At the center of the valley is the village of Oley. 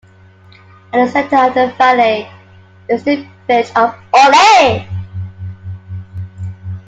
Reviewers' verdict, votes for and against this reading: rejected, 0, 2